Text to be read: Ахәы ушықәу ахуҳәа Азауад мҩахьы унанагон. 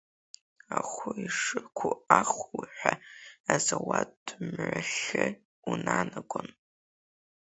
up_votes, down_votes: 5, 4